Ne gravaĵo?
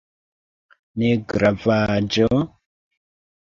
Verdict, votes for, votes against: rejected, 1, 2